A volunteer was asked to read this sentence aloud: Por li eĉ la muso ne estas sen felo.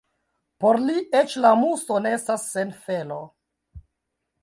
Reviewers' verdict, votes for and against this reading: rejected, 0, 2